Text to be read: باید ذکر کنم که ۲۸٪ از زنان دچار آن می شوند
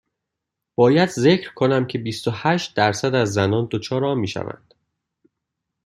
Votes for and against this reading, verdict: 0, 2, rejected